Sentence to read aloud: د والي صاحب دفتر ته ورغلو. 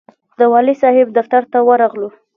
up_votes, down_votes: 1, 2